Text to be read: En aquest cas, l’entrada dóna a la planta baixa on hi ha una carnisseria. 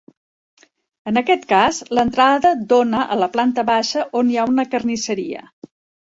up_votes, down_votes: 2, 0